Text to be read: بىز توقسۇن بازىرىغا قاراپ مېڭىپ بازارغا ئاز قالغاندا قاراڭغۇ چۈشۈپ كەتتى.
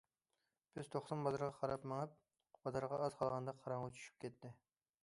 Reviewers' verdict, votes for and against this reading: accepted, 2, 0